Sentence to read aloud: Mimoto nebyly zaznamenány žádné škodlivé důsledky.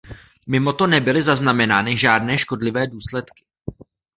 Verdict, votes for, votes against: rejected, 1, 2